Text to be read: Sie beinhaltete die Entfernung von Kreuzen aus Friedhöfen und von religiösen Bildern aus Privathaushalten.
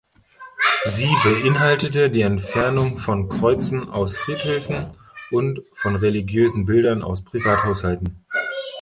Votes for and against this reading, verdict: 2, 0, accepted